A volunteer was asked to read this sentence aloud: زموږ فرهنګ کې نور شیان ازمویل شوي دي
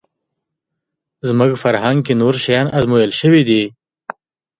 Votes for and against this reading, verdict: 2, 0, accepted